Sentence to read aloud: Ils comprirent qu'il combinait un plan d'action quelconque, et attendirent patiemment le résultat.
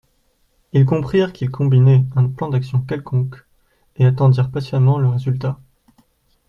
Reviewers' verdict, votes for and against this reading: accepted, 2, 0